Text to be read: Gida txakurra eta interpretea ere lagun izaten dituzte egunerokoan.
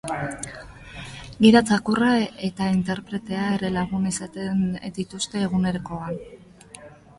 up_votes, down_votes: 1, 2